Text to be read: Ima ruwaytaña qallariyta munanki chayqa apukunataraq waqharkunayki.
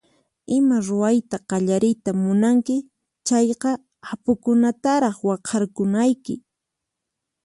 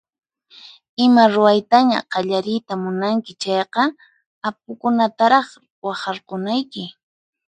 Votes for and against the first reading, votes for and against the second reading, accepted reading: 2, 4, 4, 0, second